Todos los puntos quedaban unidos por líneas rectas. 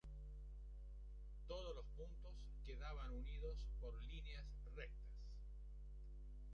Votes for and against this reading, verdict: 1, 2, rejected